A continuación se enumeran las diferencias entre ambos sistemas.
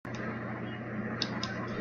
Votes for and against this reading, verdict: 0, 2, rejected